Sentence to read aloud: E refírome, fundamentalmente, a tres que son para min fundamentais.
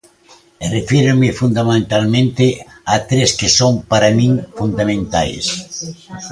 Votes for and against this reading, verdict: 1, 2, rejected